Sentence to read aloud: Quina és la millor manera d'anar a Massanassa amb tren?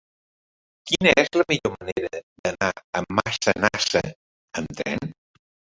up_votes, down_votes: 1, 2